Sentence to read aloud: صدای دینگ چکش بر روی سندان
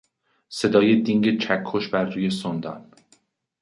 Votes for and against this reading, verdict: 0, 2, rejected